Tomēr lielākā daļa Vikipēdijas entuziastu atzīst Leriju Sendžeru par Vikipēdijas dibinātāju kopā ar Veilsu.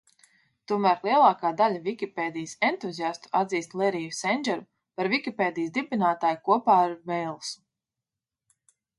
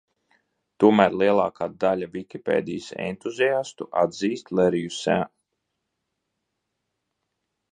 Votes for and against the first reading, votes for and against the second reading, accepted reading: 2, 0, 0, 2, first